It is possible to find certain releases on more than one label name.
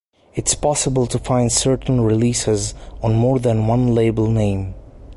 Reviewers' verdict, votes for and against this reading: rejected, 2, 3